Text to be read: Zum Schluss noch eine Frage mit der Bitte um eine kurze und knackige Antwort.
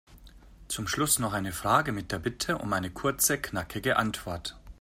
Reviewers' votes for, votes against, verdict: 0, 2, rejected